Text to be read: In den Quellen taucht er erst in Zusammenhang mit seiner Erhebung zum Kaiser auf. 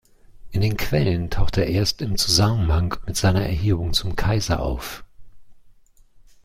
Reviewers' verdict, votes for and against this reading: accepted, 2, 0